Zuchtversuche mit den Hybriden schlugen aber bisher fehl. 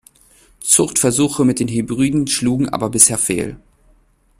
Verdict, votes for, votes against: rejected, 0, 2